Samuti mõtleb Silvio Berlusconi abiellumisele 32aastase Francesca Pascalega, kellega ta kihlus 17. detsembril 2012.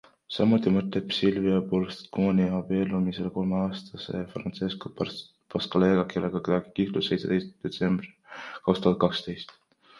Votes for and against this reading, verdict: 0, 2, rejected